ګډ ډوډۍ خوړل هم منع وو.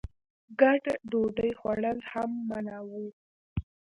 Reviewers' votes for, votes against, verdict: 0, 2, rejected